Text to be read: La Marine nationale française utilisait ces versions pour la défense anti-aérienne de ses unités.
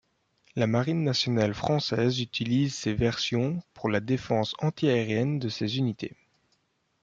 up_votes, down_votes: 0, 2